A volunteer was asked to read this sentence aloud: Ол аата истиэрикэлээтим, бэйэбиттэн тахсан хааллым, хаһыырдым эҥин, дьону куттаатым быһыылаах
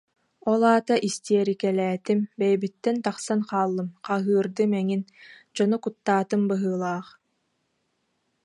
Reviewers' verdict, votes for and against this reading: accepted, 2, 0